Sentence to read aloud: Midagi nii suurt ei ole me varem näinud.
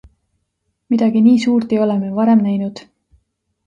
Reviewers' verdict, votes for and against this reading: accepted, 2, 0